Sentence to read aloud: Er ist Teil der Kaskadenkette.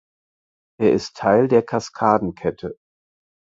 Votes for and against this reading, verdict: 4, 0, accepted